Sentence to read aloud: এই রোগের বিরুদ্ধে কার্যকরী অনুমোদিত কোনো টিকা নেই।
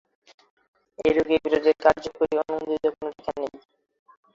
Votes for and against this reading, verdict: 4, 5, rejected